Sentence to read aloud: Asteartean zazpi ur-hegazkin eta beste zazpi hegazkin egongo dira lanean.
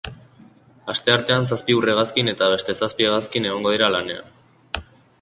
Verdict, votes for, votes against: accepted, 2, 0